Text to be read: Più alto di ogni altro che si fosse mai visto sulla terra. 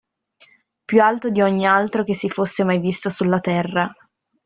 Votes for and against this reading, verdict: 2, 0, accepted